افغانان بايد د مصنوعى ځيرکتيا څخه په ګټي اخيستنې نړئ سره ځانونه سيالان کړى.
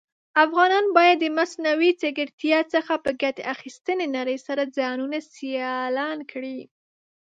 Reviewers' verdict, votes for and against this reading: rejected, 1, 2